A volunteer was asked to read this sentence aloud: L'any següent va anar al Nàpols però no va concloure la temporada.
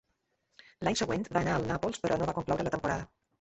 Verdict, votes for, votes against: rejected, 0, 2